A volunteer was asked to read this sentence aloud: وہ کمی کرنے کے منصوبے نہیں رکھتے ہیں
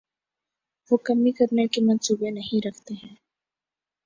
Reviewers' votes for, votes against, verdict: 5, 0, accepted